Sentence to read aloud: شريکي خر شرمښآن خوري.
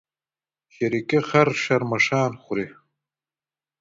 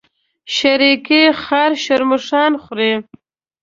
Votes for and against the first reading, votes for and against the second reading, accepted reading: 2, 0, 0, 2, first